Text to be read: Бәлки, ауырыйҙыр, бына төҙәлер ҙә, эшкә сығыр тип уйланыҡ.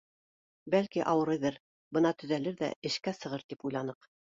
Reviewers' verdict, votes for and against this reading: accepted, 2, 0